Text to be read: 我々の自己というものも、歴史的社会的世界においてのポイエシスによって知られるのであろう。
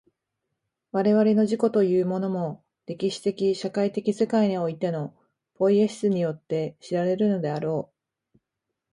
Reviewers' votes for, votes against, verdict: 2, 0, accepted